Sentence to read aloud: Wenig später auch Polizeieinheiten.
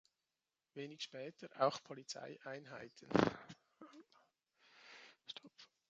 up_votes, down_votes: 0, 2